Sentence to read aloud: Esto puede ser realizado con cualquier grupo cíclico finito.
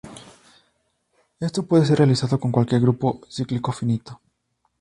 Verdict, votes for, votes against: accepted, 2, 0